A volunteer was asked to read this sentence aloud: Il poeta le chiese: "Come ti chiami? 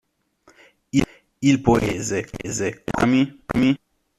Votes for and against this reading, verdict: 0, 2, rejected